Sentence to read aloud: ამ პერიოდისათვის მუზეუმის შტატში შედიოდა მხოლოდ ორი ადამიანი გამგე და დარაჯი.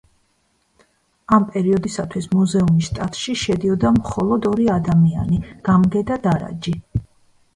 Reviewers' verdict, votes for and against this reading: rejected, 1, 2